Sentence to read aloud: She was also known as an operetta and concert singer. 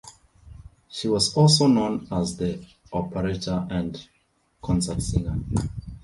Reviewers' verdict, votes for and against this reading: rejected, 1, 2